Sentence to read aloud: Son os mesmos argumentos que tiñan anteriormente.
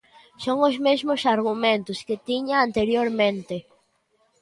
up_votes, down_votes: 0, 2